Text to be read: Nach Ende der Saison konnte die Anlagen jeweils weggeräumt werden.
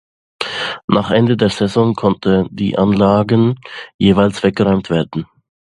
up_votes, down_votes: 2, 0